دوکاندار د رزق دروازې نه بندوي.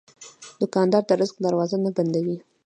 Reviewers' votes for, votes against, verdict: 2, 0, accepted